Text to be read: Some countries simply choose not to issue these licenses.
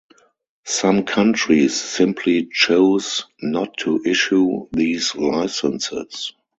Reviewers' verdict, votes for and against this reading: rejected, 2, 2